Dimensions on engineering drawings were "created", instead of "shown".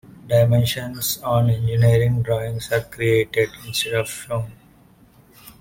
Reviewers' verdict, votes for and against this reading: rejected, 0, 2